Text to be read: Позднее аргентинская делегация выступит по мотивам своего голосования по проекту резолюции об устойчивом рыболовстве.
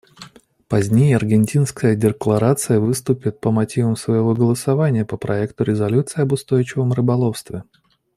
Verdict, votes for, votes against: rejected, 0, 2